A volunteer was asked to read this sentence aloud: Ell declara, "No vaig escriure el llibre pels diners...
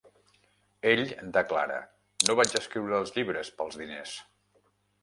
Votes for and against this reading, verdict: 1, 2, rejected